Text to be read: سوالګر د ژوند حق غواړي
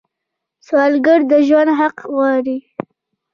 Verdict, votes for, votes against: rejected, 1, 2